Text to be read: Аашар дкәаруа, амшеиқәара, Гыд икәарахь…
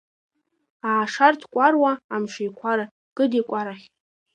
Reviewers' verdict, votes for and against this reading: rejected, 1, 2